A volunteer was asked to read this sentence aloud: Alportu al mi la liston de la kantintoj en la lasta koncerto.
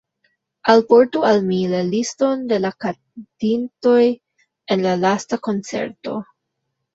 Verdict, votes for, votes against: accepted, 3, 1